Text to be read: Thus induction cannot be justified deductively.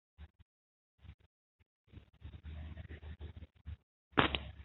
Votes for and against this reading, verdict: 0, 2, rejected